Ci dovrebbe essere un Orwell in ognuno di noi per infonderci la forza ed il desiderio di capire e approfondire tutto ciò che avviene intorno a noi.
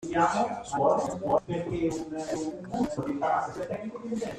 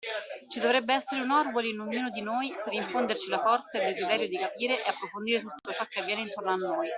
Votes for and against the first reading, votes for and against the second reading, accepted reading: 0, 2, 2, 1, second